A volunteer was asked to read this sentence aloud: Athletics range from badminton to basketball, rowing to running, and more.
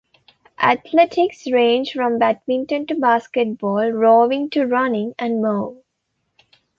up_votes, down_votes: 2, 0